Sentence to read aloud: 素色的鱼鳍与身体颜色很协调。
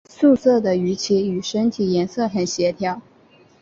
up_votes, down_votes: 4, 1